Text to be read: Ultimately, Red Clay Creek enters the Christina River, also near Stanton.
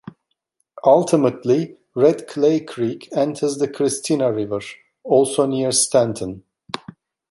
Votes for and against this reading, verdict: 3, 0, accepted